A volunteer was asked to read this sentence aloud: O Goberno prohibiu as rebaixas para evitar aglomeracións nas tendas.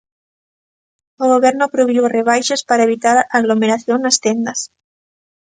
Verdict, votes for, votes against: rejected, 0, 2